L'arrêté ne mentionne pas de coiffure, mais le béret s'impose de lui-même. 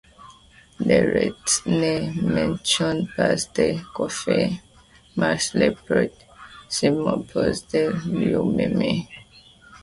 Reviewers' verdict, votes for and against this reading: rejected, 0, 2